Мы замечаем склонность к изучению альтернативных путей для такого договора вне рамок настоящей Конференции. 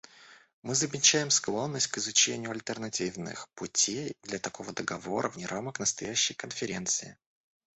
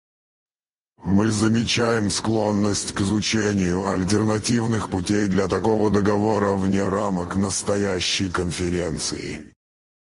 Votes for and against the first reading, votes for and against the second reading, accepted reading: 2, 1, 2, 4, first